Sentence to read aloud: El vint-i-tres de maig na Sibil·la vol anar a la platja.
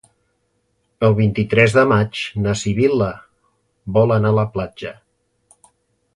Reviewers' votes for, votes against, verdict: 2, 0, accepted